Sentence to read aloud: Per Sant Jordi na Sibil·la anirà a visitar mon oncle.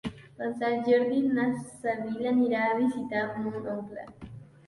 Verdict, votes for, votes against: rejected, 1, 2